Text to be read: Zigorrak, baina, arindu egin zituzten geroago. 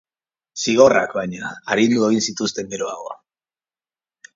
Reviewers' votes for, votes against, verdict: 3, 0, accepted